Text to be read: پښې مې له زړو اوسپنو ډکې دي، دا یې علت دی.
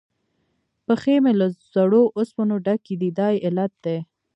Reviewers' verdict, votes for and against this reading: rejected, 0, 2